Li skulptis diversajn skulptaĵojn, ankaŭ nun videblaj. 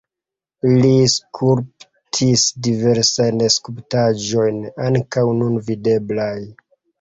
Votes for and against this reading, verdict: 0, 2, rejected